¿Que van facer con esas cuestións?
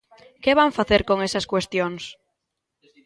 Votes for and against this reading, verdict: 2, 0, accepted